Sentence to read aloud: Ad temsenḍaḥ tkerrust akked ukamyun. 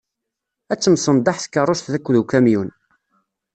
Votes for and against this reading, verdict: 1, 2, rejected